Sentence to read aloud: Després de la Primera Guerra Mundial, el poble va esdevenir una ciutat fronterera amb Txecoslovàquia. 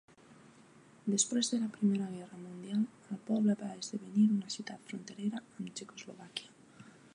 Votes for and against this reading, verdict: 1, 2, rejected